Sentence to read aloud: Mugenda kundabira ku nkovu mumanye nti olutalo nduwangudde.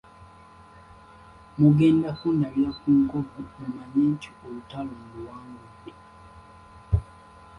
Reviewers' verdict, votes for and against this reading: rejected, 1, 2